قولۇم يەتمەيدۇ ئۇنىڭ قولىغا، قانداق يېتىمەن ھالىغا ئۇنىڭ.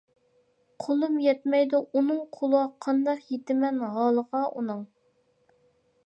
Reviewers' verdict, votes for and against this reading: rejected, 0, 2